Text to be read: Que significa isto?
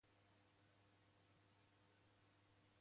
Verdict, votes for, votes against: rejected, 0, 2